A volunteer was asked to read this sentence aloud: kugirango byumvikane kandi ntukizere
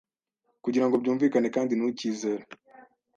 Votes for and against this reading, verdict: 2, 0, accepted